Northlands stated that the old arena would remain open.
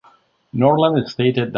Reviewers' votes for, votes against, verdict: 0, 2, rejected